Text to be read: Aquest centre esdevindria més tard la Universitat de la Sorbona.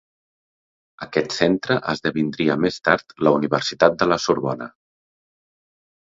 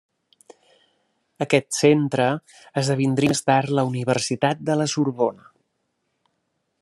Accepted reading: first